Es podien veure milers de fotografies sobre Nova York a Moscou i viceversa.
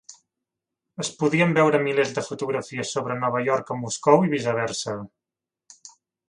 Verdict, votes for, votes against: accepted, 2, 0